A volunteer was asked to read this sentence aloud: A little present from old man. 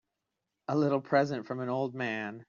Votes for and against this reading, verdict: 0, 2, rejected